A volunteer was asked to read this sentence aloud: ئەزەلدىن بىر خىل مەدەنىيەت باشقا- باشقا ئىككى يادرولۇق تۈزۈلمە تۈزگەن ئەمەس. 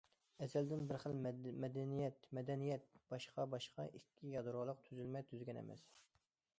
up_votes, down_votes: 0, 2